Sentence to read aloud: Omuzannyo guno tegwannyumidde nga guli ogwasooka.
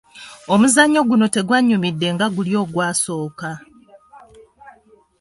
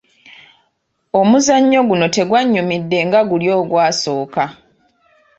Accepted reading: second